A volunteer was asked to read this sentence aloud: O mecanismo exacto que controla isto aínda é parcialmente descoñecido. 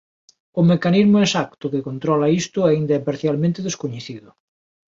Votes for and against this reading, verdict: 2, 0, accepted